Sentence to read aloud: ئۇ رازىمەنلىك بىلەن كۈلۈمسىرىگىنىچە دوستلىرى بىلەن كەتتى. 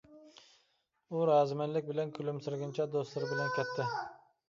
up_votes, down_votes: 2, 0